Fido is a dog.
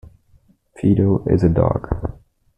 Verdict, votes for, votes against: rejected, 1, 2